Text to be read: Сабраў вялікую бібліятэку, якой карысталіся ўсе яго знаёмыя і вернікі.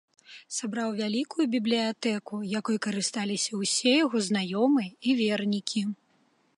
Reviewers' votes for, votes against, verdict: 2, 0, accepted